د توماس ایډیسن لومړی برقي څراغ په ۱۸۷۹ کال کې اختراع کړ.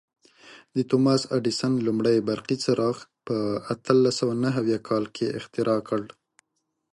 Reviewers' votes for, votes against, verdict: 0, 2, rejected